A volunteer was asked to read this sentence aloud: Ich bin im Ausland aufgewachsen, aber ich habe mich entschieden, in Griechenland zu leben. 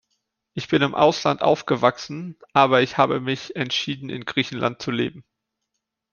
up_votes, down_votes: 2, 0